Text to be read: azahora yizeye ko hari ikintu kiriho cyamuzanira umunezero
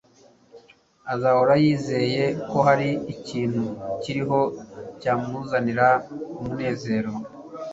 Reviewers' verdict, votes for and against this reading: accepted, 2, 0